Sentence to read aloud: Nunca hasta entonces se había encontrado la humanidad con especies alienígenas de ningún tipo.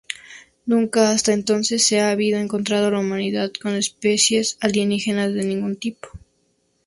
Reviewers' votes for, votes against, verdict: 2, 0, accepted